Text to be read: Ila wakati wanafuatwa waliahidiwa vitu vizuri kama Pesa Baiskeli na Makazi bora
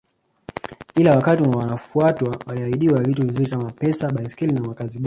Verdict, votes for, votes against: rejected, 0, 2